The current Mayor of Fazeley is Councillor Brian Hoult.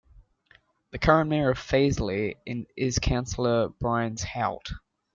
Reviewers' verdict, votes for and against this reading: accepted, 2, 1